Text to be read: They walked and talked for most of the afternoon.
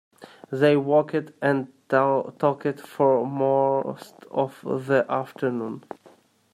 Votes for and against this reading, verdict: 0, 2, rejected